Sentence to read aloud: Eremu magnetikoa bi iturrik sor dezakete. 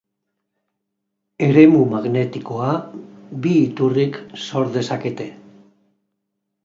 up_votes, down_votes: 2, 0